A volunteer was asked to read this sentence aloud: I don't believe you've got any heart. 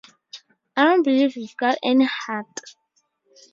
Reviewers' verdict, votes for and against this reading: accepted, 2, 0